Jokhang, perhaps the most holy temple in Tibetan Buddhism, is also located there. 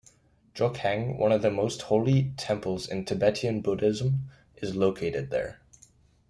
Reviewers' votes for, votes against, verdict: 1, 2, rejected